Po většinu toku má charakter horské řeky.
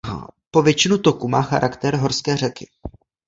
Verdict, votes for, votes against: rejected, 1, 2